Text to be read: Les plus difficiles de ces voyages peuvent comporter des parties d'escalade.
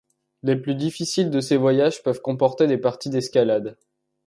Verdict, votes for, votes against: accepted, 2, 0